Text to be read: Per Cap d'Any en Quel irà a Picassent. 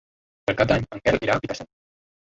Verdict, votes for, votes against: accepted, 2, 0